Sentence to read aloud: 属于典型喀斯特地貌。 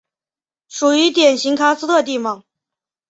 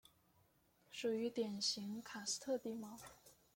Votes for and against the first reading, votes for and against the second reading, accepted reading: 3, 0, 1, 2, first